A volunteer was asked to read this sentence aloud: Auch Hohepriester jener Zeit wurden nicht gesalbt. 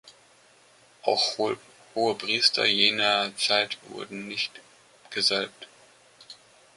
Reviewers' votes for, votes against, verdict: 0, 2, rejected